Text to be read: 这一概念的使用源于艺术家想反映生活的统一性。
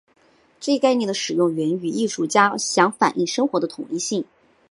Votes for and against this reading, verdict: 3, 0, accepted